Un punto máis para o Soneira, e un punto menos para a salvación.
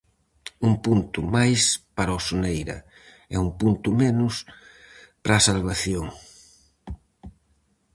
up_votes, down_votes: 4, 0